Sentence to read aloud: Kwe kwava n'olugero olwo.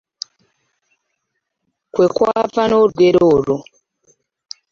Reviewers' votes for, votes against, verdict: 2, 0, accepted